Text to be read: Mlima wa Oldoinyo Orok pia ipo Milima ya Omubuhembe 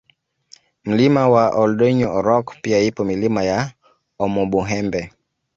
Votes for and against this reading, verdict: 2, 0, accepted